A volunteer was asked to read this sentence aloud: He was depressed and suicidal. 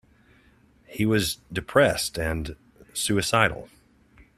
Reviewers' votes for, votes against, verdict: 2, 0, accepted